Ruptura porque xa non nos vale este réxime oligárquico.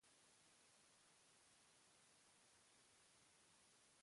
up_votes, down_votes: 0, 2